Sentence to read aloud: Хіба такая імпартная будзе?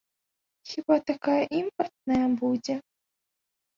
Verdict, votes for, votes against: accepted, 4, 0